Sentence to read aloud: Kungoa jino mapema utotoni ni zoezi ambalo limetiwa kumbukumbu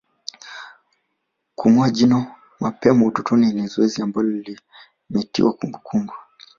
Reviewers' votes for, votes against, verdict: 0, 2, rejected